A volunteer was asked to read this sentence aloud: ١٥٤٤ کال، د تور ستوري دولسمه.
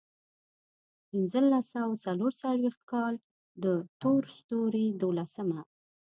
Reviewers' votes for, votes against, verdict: 0, 2, rejected